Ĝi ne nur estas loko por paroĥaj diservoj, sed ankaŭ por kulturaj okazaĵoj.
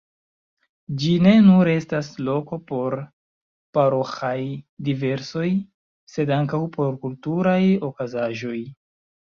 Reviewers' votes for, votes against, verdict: 1, 2, rejected